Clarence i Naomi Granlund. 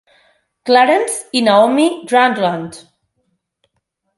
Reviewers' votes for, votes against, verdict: 2, 4, rejected